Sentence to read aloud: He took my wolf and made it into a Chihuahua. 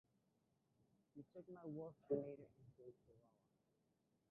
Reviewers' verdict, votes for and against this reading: rejected, 1, 2